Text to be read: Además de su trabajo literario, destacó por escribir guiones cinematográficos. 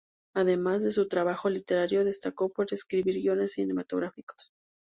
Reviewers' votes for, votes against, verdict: 0, 2, rejected